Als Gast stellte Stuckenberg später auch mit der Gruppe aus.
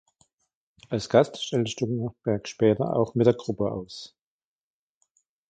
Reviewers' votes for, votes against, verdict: 1, 2, rejected